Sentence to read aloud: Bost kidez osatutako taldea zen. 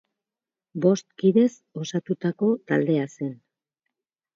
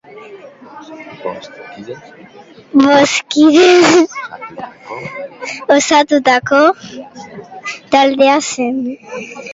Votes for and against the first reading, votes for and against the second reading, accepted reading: 4, 0, 1, 3, first